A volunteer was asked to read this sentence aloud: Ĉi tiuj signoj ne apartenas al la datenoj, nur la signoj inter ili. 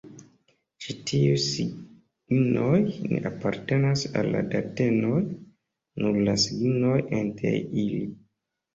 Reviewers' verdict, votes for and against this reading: rejected, 1, 2